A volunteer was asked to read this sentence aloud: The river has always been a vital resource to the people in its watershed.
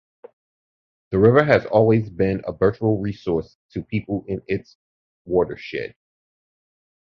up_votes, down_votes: 0, 2